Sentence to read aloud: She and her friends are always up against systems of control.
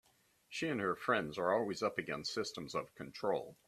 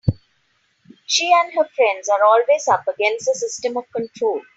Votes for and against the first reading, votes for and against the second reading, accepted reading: 2, 0, 0, 2, first